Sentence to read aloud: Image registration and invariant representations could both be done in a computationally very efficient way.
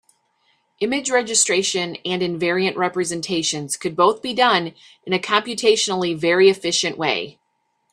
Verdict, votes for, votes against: accepted, 3, 0